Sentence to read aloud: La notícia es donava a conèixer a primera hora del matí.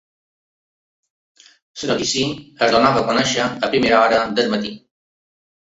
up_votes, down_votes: 1, 2